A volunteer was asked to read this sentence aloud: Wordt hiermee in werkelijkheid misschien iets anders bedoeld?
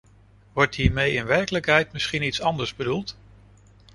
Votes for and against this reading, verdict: 2, 0, accepted